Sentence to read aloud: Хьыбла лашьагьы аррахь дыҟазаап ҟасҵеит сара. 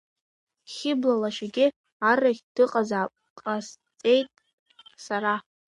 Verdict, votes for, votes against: rejected, 0, 2